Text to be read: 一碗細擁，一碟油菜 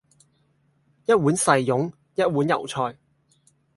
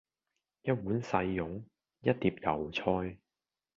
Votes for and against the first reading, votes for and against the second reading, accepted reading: 2, 2, 2, 0, second